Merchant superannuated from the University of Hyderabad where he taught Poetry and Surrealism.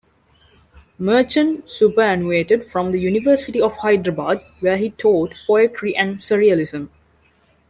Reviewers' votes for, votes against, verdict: 2, 0, accepted